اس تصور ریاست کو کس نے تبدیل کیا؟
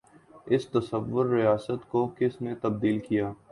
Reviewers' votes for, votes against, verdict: 2, 0, accepted